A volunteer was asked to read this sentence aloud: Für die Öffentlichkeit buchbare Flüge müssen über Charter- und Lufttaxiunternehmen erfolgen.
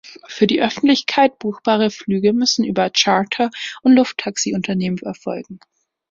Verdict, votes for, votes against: accepted, 2, 1